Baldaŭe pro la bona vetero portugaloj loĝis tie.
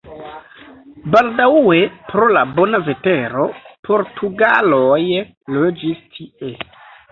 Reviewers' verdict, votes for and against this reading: rejected, 0, 2